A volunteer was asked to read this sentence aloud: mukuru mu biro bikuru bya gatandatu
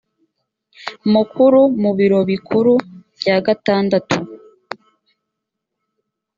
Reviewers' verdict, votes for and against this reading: accepted, 2, 0